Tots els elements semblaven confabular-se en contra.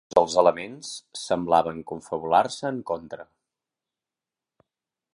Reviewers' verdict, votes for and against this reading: rejected, 1, 2